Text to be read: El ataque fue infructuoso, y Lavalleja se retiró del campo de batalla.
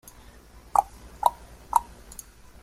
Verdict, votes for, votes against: rejected, 0, 2